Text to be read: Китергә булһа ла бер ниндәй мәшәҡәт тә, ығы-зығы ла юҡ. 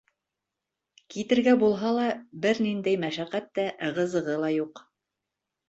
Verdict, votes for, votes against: accepted, 3, 0